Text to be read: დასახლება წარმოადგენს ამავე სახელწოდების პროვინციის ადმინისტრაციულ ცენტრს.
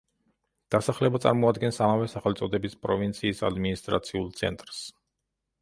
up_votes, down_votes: 2, 0